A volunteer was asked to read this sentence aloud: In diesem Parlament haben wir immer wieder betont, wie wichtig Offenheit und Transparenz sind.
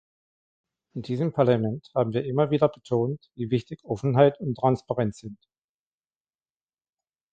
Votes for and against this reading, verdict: 3, 0, accepted